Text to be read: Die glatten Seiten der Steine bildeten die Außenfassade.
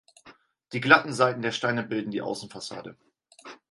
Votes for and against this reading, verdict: 2, 4, rejected